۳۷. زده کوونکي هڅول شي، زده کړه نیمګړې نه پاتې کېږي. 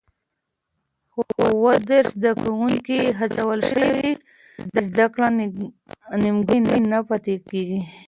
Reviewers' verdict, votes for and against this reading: rejected, 0, 2